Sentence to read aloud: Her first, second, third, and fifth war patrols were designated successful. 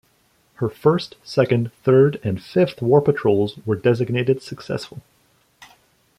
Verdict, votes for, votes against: accepted, 2, 0